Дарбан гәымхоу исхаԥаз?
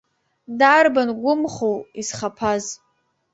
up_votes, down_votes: 2, 0